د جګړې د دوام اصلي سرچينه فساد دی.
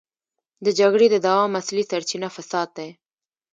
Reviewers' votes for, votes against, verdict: 1, 2, rejected